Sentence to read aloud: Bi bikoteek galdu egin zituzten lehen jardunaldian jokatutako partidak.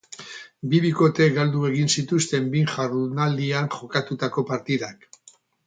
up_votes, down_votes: 0, 2